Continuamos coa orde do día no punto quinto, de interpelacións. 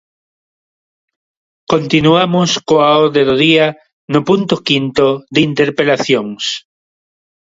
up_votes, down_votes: 2, 0